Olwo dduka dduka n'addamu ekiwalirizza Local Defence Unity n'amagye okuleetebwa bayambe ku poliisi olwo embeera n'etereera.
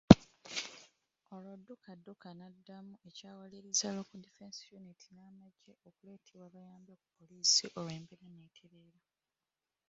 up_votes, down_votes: 1, 3